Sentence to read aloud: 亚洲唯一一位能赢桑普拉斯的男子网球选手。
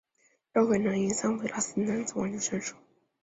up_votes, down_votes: 0, 4